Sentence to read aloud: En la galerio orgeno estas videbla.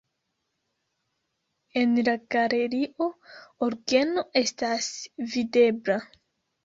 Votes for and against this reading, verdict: 2, 1, accepted